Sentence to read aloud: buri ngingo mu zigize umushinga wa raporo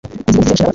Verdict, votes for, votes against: rejected, 0, 2